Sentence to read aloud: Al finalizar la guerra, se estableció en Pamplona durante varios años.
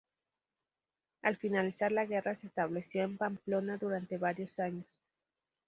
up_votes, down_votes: 2, 2